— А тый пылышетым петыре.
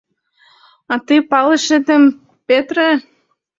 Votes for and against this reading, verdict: 0, 2, rejected